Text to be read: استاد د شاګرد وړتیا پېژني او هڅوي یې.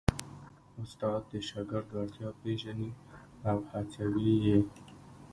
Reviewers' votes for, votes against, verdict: 1, 2, rejected